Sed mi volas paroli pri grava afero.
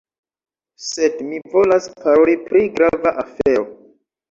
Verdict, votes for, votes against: rejected, 0, 2